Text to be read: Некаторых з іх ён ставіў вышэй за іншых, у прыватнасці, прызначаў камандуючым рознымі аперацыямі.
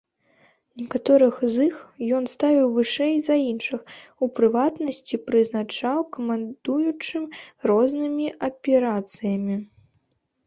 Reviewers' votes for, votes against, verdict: 1, 2, rejected